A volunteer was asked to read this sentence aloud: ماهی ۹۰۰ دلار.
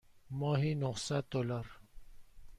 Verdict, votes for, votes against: rejected, 0, 2